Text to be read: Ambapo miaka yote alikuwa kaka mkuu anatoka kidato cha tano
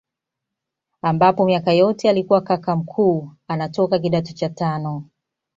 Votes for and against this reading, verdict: 2, 1, accepted